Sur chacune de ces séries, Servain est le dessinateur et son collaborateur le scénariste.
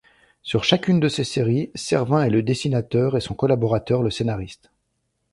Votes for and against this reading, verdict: 2, 0, accepted